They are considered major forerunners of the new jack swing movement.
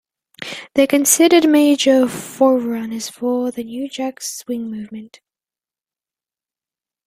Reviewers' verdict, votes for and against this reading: rejected, 0, 2